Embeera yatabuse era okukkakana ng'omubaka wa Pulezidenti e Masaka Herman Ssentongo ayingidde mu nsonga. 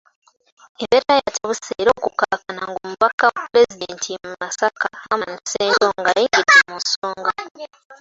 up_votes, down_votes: 2, 1